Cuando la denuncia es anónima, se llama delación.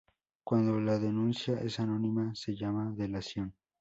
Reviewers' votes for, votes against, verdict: 2, 0, accepted